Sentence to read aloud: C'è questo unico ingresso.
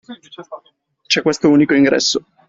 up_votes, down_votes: 2, 0